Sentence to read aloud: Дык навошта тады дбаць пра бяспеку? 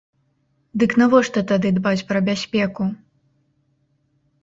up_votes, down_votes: 2, 0